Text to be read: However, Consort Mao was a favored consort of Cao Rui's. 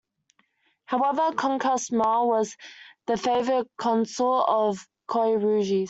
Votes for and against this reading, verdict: 0, 2, rejected